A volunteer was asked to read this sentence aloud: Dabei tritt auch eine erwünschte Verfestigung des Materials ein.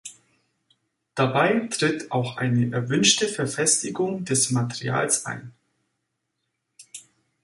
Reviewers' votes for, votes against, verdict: 3, 0, accepted